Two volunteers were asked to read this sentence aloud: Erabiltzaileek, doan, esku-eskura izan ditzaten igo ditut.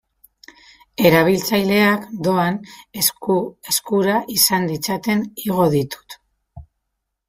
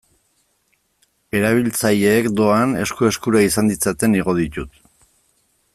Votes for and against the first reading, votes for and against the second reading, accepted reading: 0, 3, 2, 0, second